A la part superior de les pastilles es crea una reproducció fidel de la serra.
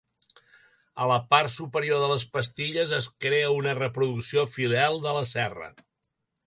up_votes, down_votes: 2, 0